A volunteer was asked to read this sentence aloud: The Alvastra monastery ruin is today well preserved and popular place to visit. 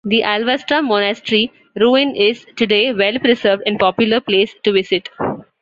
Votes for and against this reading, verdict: 2, 0, accepted